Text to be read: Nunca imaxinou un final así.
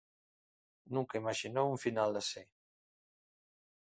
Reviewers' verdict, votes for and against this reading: accepted, 2, 0